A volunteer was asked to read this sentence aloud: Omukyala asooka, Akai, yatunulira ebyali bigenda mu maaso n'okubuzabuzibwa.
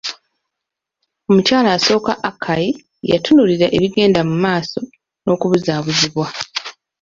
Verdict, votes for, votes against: accepted, 2, 1